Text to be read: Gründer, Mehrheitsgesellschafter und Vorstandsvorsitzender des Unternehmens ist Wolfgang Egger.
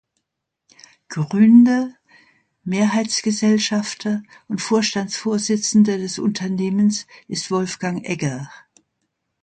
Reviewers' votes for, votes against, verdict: 2, 0, accepted